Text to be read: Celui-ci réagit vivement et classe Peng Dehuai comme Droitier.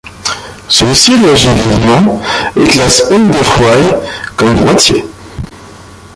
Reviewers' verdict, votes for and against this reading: rejected, 0, 2